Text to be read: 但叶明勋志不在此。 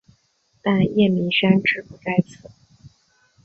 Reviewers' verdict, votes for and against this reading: rejected, 1, 2